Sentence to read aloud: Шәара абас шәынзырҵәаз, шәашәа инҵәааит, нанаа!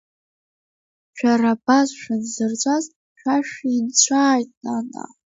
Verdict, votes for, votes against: rejected, 1, 2